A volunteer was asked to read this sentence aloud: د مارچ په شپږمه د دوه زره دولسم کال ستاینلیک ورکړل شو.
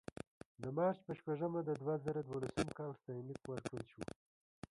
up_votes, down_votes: 0, 2